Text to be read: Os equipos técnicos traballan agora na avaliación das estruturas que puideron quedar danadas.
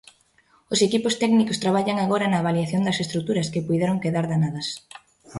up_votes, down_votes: 3, 0